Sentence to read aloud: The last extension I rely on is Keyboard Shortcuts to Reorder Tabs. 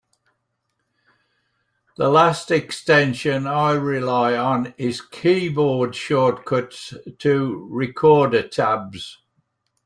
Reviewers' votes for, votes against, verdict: 0, 2, rejected